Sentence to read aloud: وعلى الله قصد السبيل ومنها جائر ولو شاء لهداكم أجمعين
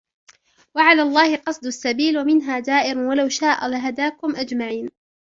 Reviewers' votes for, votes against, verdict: 2, 1, accepted